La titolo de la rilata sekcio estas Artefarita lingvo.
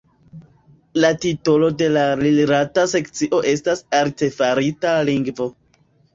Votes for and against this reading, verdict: 1, 2, rejected